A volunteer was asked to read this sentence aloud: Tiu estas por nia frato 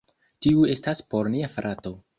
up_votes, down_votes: 2, 0